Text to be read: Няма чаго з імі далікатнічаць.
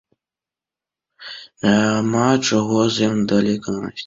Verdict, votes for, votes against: rejected, 0, 2